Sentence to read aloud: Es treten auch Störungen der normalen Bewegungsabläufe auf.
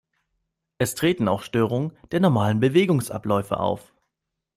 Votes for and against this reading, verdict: 3, 0, accepted